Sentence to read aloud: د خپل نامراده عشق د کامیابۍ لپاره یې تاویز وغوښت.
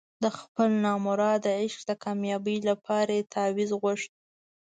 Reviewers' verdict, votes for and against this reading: rejected, 0, 2